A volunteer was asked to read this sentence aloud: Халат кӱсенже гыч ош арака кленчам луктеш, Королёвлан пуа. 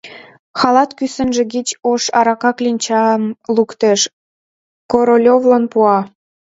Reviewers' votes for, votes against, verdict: 1, 2, rejected